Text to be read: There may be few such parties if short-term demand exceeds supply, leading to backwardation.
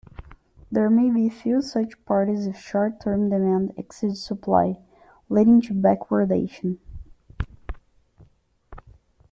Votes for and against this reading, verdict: 2, 0, accepted